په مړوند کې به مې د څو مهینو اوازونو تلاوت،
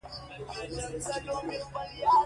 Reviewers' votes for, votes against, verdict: 2, 1, accepted